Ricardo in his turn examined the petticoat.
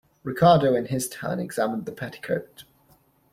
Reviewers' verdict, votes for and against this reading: accepted, 2, 1